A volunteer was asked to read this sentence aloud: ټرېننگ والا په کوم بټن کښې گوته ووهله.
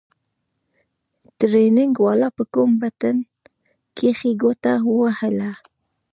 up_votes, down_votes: 0, 2